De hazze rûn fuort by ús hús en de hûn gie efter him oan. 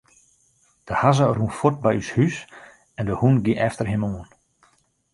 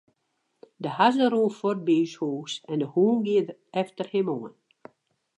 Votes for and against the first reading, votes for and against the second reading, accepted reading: 2, 0, 0, 2, first